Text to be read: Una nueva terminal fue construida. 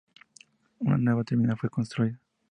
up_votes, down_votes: 2, 0